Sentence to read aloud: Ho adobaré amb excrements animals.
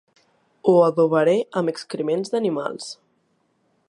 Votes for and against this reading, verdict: 1, 3, rejected